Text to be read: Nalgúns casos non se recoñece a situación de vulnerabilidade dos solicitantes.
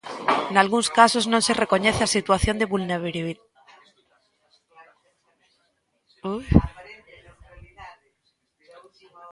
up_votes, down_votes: 0, 2